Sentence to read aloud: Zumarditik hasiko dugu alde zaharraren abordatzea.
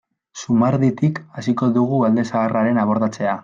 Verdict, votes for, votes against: accepted, 2, 0